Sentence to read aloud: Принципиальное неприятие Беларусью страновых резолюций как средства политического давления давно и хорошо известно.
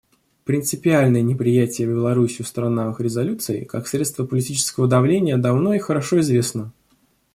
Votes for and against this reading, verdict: 0, 2, rejected